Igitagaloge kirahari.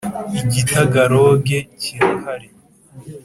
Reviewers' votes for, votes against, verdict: 2, 0, accepted